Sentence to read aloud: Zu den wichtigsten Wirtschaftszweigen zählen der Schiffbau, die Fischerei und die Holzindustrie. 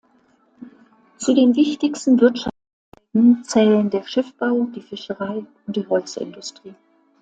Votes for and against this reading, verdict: 0, 2, rejected